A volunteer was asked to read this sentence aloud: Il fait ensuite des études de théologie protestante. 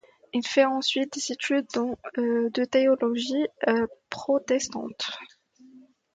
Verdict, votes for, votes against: rejected, 1, 2